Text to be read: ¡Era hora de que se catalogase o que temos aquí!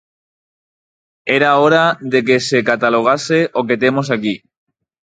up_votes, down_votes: 4, 0